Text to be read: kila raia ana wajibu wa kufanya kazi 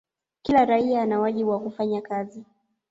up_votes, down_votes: 2, 0